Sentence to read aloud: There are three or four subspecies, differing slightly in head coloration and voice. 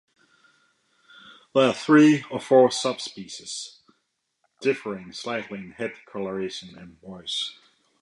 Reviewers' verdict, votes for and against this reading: accepted, 2, 0